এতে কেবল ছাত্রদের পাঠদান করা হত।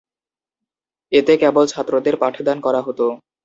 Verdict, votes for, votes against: accepted, 2, 0